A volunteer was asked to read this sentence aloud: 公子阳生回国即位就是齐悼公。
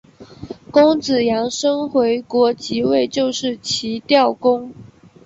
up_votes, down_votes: 2, 1